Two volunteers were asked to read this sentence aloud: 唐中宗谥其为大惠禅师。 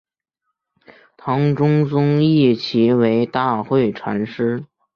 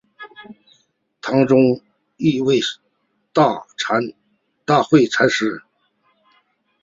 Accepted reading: first